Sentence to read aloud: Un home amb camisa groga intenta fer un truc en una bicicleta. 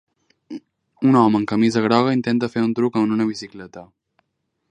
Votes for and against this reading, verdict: 3, 0, accepted